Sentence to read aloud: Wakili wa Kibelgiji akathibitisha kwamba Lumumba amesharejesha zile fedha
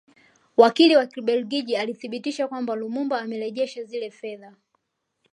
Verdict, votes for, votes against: accepted, 2, 1